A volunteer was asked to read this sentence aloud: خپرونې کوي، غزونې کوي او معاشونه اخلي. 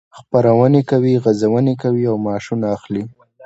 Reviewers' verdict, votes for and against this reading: accepted, 2, 0